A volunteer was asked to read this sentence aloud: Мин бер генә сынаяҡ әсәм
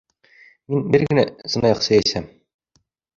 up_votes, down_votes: 2, 1